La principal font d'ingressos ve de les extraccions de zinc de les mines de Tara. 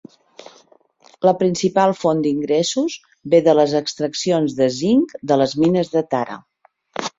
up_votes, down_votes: 2, 0